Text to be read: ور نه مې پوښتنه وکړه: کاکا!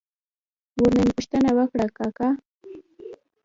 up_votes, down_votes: 0, 2